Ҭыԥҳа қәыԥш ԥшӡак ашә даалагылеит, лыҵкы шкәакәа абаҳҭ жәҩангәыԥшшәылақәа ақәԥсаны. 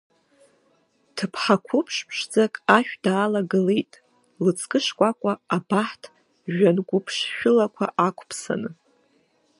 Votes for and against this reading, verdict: 1, 2, rejected